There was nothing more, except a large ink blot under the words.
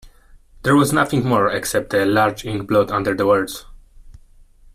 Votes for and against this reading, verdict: 2, 0, accepted